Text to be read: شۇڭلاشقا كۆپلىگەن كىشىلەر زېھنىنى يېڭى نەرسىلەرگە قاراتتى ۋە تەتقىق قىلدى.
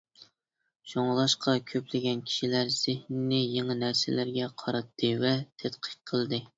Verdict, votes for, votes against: accepted, 2, 0